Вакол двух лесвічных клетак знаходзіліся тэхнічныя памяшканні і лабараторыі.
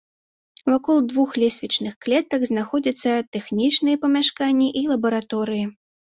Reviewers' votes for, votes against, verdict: 0, 2, rejected